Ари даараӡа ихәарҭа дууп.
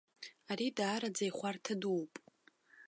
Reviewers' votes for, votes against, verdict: 1, 2, rejected